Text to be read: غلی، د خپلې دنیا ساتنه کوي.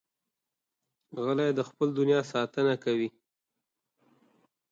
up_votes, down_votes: 2, 0